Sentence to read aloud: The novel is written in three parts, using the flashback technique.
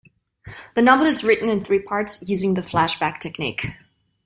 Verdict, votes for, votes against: accepted, 2, 0